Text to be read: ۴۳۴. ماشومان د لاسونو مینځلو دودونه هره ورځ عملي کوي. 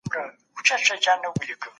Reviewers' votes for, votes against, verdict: 0, 2, rejected